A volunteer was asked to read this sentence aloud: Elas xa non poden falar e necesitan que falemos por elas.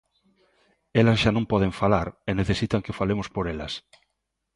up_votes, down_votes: 2, 0